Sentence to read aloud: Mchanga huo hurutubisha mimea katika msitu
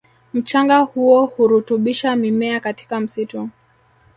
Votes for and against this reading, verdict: 0, 2, rejected